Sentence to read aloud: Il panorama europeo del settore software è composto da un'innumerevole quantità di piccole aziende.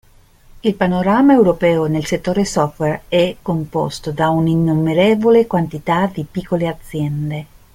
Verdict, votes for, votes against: rejected, 0, 2